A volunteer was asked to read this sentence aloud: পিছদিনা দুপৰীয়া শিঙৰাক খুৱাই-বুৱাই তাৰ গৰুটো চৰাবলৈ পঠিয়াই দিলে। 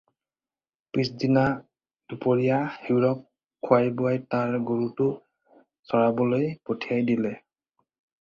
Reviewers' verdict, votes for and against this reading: rejected, 0, 4